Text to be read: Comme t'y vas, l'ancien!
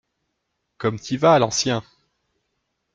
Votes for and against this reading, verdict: 2, 0, accepted